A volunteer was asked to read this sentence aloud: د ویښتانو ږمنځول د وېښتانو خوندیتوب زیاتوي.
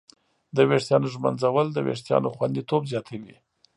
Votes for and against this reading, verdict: 2, 0, accepted